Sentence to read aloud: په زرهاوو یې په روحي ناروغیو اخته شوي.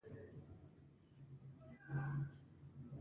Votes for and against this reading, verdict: 0, 2, rejected